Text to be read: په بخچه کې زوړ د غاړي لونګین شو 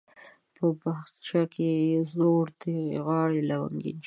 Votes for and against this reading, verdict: 1, 2, rejected